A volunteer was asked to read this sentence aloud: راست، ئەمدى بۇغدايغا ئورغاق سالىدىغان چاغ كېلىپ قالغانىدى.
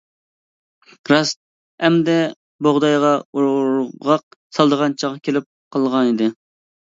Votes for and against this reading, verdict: 1, 2, rejected